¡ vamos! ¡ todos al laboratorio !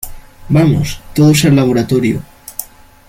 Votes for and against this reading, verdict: 2, 0, accepted